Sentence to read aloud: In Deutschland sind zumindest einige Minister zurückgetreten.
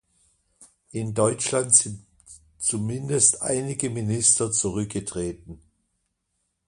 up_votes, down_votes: 2, 0